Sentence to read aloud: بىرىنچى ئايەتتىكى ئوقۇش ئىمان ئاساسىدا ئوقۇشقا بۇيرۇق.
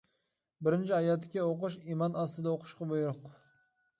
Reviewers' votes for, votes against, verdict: 0, 2, rejected